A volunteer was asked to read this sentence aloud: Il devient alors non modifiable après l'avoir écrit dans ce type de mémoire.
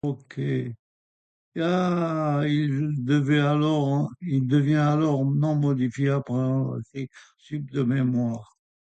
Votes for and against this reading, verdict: 0, 2, rejected